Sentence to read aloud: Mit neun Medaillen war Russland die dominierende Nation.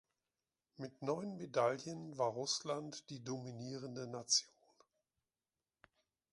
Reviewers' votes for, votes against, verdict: 2, 1, accepted